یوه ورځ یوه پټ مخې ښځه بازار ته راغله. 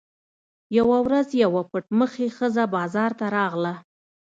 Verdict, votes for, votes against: accepted, 2, 0